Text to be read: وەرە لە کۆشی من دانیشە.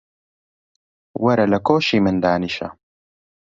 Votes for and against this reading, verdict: 2, 0, accepted